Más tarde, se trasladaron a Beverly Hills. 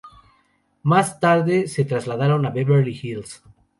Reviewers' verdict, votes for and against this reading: accepted, 4, 0